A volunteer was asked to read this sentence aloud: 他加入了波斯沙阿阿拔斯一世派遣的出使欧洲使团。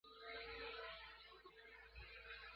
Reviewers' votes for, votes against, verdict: 0, 3, rejected